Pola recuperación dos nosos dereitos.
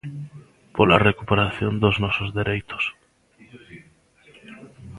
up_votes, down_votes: 1, 2